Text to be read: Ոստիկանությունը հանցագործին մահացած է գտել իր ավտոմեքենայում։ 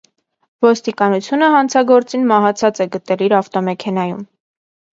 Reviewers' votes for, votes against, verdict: 2, 0, accepted